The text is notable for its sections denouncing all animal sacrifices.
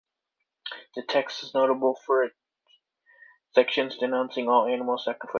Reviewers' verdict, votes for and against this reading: rejected, 0, 2